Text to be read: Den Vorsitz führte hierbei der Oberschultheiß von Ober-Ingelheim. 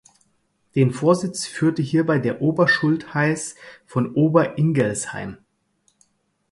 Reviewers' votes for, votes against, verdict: 0, 4, rejected